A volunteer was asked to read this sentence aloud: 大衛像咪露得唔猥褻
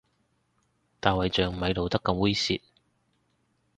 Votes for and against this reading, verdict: 0, 2, rejected